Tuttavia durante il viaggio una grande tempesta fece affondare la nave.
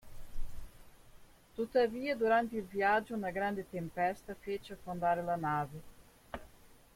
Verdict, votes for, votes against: rejected, 1, 2